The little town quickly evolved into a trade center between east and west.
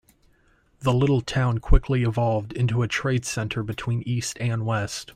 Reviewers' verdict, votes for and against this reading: accepted, 2, 0